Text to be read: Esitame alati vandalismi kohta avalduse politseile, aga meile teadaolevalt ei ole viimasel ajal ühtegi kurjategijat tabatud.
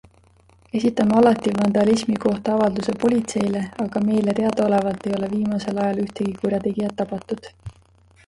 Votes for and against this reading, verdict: 2, 1, accepted